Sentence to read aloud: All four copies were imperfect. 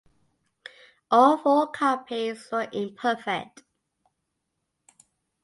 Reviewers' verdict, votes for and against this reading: accepted, 2, 0